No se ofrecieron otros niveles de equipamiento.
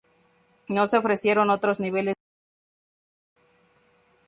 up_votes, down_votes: 0, 2